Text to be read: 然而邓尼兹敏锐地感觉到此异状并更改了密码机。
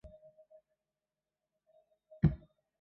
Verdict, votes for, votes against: rejected, 0, 2